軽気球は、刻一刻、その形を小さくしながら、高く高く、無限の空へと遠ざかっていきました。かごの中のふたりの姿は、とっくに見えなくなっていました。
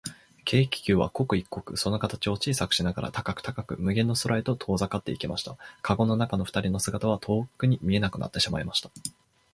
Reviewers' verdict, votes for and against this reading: rejected, 3, 6